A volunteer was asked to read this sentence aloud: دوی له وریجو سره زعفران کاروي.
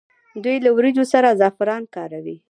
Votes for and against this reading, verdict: 1, 2, rejected